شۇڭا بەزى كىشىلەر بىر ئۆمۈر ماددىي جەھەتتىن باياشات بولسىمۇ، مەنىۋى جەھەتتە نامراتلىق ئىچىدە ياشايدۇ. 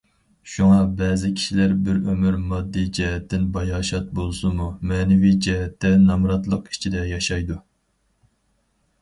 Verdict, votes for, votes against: accepted, 4, 0